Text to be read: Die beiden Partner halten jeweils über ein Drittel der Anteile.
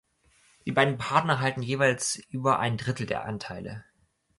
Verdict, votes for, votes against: accepted, 2, 0